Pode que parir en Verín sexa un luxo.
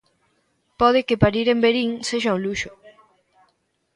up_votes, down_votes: 0, 2